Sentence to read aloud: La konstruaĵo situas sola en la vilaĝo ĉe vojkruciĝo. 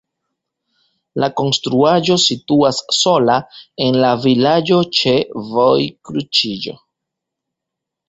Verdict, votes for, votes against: rejected, 1, 2